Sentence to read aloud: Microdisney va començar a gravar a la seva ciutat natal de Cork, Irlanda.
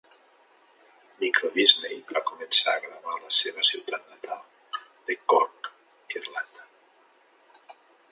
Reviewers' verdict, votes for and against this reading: accepted, 2, 0